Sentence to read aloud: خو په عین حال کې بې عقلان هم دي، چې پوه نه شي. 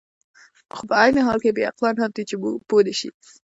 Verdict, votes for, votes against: rejected, 1, 2